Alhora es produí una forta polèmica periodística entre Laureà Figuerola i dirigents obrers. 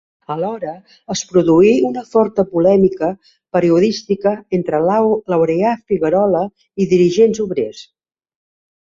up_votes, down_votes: 2, 3